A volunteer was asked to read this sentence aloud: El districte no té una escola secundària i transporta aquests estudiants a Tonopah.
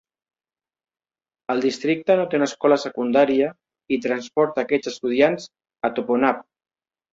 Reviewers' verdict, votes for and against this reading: rejected, 0, 2